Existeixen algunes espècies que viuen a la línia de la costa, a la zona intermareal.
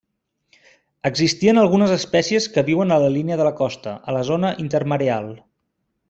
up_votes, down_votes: 1, 2